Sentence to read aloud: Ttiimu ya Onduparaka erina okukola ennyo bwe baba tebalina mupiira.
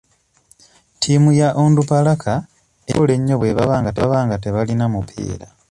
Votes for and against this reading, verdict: 0, 2, rejected